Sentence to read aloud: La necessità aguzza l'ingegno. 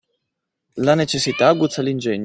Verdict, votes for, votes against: accepted, 2, 0